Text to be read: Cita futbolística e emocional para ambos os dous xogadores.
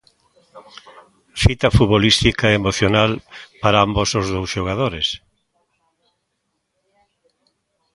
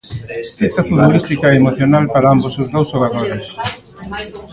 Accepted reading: first